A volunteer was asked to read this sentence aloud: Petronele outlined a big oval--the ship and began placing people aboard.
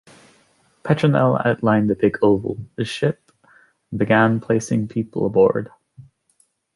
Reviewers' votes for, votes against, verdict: 1, 2, rejected